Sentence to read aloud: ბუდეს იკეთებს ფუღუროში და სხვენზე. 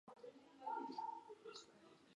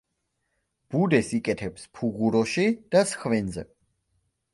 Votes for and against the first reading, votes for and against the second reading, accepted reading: 0, 2, 2, 0, second